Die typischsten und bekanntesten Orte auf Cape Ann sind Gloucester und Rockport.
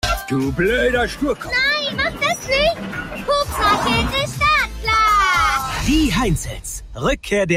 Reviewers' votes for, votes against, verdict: 0, 2, rejected